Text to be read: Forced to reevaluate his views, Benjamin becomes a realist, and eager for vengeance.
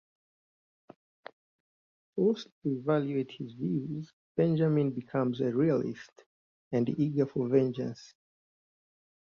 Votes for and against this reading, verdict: 1, 2, rejected